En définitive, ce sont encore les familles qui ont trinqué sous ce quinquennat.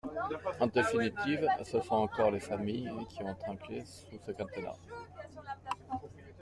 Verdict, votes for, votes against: rejected, 1, 2